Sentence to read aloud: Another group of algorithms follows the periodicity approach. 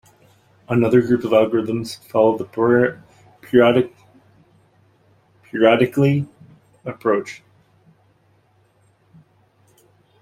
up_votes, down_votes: 0, 2